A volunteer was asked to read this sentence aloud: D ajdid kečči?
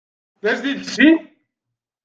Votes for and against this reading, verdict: 2, 0, accepted